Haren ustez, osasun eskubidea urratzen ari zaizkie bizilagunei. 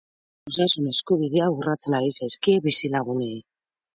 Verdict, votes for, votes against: rejected, 0, 4